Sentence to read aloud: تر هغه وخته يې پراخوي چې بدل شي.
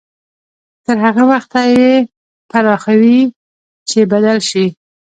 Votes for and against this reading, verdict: 2, 1, accepted